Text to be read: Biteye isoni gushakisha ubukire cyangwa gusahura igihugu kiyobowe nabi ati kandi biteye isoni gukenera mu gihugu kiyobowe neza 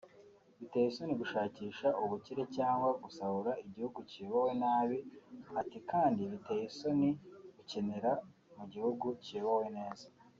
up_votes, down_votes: 3, 0